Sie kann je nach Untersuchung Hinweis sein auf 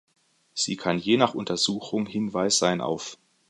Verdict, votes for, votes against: accepted, 2, 0